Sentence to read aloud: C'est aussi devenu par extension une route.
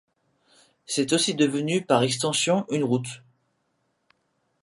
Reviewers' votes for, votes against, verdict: 2, 0, accepted